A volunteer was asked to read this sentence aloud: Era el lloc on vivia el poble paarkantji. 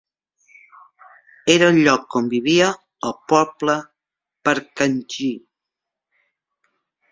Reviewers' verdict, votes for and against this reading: accepted, 2, 0